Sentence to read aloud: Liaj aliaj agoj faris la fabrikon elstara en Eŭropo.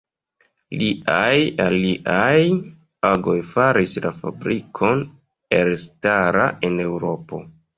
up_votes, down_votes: 1, 2